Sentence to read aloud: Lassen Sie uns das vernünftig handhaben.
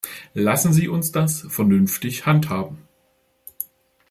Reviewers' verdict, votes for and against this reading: accepted, 2, 0